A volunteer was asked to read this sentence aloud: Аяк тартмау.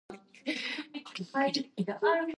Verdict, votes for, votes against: rejected, 0, 2